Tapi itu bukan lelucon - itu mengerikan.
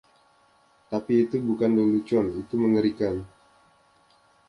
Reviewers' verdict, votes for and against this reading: accepted, 2, 1